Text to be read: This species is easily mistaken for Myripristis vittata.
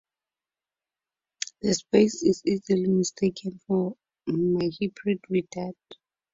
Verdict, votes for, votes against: rejected, 0, 4